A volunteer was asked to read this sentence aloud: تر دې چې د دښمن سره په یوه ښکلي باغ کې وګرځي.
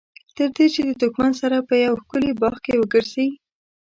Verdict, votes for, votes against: accepted, 2, 1